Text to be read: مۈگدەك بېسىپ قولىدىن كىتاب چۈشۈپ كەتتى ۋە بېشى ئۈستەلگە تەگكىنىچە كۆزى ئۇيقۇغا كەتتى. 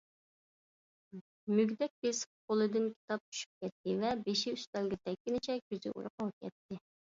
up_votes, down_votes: 2, 1